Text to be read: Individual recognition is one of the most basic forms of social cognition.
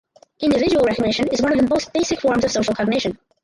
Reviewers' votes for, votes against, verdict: 2, 4, rejected